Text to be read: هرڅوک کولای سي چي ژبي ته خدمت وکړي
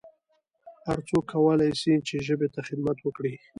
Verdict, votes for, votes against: rejected, 0, 2